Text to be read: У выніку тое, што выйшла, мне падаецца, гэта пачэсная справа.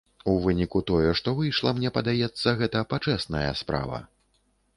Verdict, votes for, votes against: accepted, 2, 0